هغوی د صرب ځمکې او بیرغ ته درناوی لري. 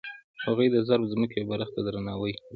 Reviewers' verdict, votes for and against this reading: rejected, 1, 2